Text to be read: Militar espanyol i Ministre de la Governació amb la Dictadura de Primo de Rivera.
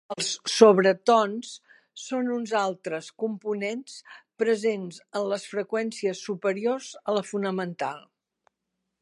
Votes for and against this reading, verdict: 1, 2, rejected